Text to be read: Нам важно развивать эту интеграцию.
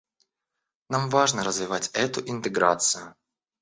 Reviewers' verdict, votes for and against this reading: accepted, 2, 0